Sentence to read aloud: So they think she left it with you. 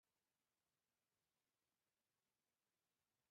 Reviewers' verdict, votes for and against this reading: rejected, 0, 2